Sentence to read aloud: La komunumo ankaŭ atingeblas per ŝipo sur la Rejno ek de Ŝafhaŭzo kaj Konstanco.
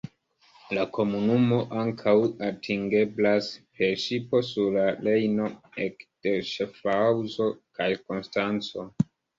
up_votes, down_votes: 1, 2